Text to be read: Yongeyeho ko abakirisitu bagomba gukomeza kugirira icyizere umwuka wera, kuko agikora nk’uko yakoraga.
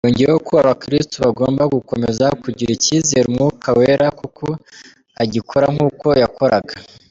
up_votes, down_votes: 0, 3